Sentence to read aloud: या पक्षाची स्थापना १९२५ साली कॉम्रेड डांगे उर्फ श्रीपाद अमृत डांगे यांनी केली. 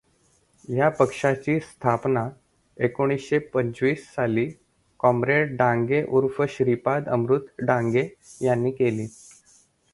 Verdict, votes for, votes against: rejected, 0, 2